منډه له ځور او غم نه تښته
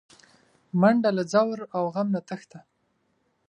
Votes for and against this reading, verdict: 5, 0, accepted